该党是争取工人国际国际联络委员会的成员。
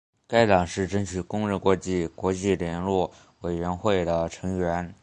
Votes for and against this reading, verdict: 2, 0, accepted